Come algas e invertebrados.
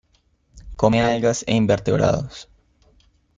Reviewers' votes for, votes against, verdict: 2, 0, accepted